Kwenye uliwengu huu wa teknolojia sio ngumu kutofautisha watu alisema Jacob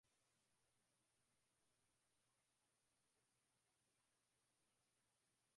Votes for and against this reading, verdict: 0, 2, rejected